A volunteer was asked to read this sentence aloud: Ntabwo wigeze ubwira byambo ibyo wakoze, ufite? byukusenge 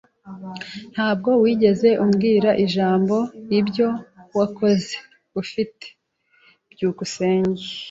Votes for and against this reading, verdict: 0, 2, rejected